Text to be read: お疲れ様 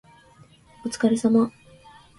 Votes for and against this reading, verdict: 2, 0, accepted